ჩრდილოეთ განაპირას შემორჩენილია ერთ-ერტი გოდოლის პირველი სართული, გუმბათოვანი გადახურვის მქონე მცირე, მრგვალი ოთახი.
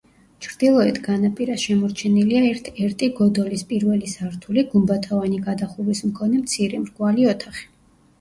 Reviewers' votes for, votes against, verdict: 1, 2, rejected